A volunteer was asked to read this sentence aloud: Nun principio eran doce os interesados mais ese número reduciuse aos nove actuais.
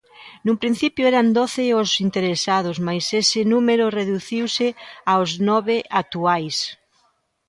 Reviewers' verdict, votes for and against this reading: accepted, 2, 0